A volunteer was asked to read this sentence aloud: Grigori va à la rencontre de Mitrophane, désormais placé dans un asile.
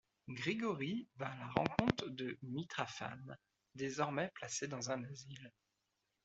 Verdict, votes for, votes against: rejected, 0, 2